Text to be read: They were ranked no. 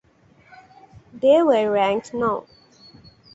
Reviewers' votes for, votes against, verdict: 2, 0, accepted